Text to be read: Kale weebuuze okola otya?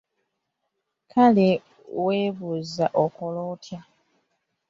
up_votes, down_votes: 1, 2